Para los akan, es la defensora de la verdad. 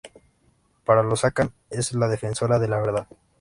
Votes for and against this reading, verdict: 2, 0, accepted